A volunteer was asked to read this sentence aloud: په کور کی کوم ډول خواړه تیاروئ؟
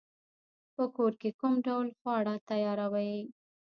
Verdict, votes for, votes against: rejected, 1, 2